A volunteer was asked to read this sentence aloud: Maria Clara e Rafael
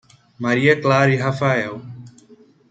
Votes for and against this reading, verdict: 2, 0, accepted